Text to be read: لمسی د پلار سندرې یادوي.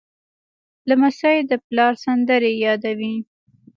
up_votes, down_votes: 1, 2